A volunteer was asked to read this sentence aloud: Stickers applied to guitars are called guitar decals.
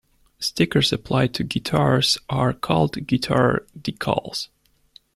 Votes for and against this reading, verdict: 2, 0, accepted